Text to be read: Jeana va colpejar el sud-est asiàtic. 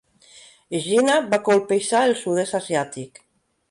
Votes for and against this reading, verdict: 2, 0, accepted